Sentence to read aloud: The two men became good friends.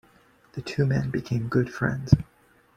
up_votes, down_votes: 3, 0